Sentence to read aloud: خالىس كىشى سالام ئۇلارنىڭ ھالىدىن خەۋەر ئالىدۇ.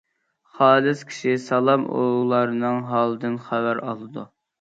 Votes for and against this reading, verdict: 2, 0, accepted